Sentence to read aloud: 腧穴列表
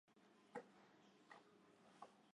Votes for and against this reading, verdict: 2, 4, rejected